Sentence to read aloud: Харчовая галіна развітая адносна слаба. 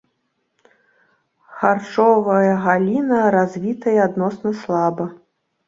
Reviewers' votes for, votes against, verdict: 2, 0, accepted